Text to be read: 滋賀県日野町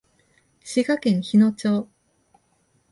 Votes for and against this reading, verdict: 2, 0, accepted